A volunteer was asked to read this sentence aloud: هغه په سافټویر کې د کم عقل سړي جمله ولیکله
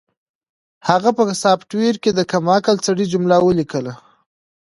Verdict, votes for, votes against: accepted, 2, 1